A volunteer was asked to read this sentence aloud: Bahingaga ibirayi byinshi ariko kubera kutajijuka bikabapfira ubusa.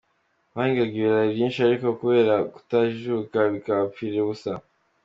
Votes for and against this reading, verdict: 3, 0, accepted